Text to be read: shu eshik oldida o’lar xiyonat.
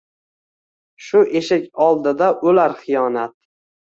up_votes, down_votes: 2, 0